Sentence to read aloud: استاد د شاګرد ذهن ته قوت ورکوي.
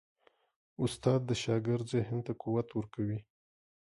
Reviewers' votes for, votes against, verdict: 3, 0, accepted